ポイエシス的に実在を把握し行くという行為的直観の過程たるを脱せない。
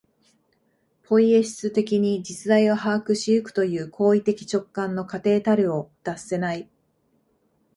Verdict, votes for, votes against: accepted, 2, 0